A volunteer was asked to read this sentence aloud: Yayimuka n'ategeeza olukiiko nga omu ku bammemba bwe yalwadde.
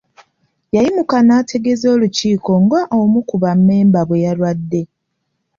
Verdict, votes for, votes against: accepted, 2, 0